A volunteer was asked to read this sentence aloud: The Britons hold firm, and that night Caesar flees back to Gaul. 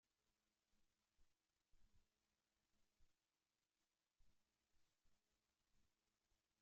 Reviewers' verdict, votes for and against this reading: rejected, 0, 2